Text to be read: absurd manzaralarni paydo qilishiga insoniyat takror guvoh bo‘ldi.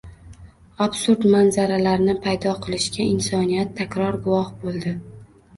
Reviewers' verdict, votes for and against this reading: accepted, 2, 0